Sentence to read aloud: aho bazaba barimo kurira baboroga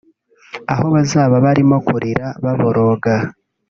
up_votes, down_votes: 2, 0